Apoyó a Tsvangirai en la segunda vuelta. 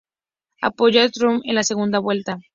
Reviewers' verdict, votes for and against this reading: accepted, 2, 0